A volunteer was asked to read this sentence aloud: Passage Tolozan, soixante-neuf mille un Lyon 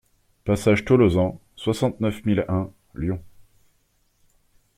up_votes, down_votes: 2, 0